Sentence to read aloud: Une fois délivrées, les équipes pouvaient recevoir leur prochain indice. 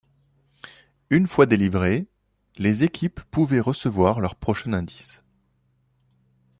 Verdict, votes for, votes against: accepted, 2, 0